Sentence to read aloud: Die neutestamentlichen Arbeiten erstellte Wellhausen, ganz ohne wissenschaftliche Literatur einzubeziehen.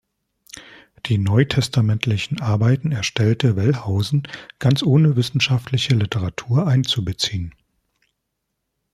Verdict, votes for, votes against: accepted, 2, 0